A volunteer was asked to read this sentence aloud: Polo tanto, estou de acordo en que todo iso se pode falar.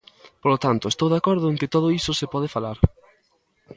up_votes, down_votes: 2, 0